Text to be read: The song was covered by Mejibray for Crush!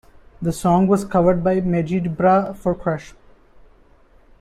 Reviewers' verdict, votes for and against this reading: rejected, 0, 2